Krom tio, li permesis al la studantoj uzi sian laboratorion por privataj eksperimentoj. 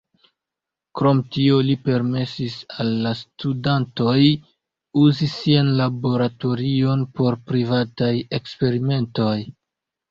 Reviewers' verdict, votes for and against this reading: accepted, 2, 0